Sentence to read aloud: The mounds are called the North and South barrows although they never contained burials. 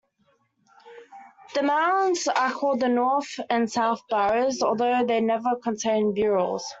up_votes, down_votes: 1, 2